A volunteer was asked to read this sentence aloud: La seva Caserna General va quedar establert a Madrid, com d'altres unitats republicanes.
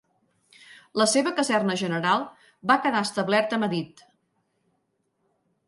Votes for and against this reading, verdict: 0, 2, rejected